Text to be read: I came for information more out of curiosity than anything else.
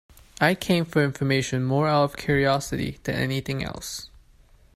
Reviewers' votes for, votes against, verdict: 2, 0, accepted